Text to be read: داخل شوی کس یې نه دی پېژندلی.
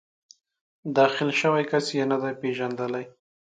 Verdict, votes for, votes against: accepted, 3, 0